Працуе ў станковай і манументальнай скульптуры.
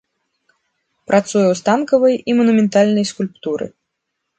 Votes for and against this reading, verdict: 1, 2, rejected